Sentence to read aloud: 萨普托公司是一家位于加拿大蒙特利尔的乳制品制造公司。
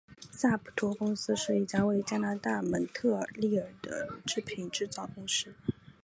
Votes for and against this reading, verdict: 1, 2, rejected